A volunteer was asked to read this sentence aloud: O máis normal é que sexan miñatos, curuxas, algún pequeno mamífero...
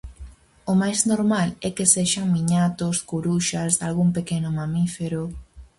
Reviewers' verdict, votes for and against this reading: accepted, 4, 0